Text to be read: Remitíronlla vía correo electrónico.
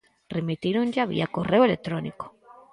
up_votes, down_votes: 2, 4